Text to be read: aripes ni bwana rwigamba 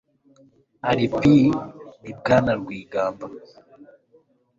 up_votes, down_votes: 2, 0